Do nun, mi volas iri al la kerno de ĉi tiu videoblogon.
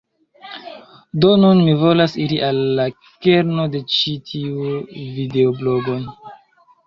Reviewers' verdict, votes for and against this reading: accepted, 2, 0